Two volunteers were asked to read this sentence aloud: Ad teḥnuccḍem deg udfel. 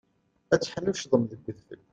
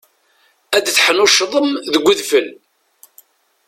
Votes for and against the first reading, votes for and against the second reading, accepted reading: 1, 3, 2, 1, second